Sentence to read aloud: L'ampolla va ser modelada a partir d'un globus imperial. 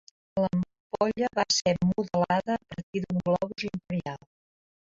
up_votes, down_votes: 1, 3